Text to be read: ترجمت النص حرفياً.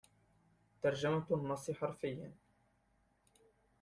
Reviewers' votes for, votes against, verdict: 1, 2, rejected